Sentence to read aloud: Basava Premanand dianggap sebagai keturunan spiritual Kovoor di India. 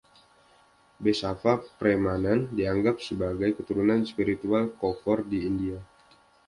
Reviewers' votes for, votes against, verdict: 2, 0, accepted